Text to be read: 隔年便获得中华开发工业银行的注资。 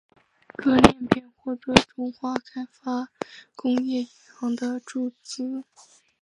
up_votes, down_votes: 2, 2